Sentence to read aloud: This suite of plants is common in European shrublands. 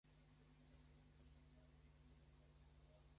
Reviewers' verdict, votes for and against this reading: rejected, 0, 2